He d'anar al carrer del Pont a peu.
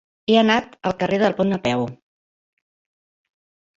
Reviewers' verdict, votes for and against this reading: rejected, 1, 2